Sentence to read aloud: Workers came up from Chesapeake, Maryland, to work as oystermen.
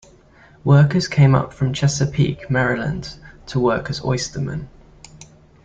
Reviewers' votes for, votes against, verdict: 2, 0, accepted